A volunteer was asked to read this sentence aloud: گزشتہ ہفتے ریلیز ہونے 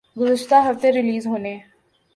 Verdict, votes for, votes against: accepted, 2, 0